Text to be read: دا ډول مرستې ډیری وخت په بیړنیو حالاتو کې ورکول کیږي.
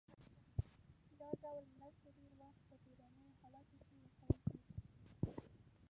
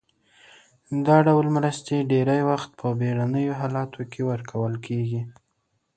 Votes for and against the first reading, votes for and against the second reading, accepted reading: 0, 2, 2, 0, second